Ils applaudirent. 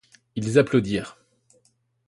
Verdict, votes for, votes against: accepted, 2, 0